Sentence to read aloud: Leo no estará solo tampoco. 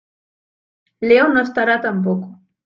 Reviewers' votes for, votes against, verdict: 0, 2, rejected